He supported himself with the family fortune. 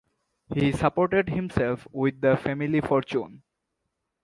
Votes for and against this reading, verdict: 2, 0, accepted